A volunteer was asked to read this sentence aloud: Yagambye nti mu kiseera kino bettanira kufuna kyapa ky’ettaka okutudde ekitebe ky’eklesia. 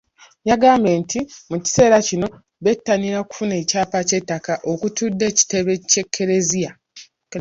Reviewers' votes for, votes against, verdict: 0, 2, rejected